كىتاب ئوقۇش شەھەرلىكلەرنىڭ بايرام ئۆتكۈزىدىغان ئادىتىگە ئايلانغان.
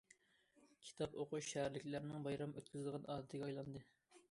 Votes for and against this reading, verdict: 1, 2, rejected